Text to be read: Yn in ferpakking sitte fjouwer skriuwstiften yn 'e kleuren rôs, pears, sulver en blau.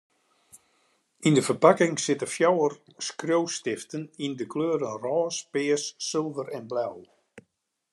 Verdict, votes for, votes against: rejected, 1, 2